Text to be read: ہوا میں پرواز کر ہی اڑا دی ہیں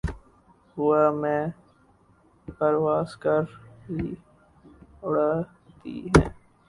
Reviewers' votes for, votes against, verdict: 0, 2, rejected